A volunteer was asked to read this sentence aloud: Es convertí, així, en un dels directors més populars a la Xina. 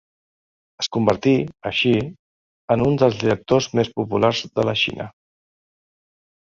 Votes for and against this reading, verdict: 1, 2, rejected